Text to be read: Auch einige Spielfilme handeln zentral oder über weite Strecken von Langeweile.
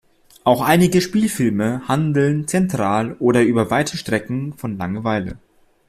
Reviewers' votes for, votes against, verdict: 2, 0, accepted